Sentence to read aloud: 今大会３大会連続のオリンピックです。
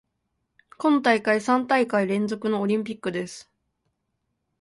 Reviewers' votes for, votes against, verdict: 0, 2, rejected